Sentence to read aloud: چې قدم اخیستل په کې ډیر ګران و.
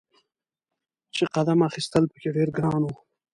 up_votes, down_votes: 2, 0